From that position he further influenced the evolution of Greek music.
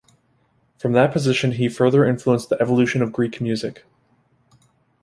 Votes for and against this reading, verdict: 2, 1, accepted